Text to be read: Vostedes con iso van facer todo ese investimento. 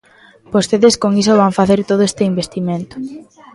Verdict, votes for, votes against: rejected, 0, 2